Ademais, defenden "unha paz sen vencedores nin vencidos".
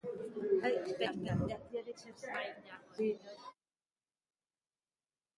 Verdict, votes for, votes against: rejected, 0, 2